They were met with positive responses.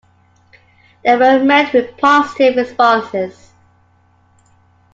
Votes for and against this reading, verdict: 2, 0, accepted